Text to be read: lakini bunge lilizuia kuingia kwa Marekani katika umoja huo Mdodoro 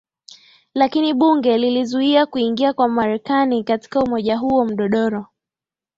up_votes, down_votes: 6, 4